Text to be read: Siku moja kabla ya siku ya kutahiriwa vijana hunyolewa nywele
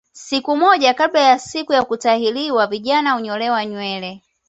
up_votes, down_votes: 2, 0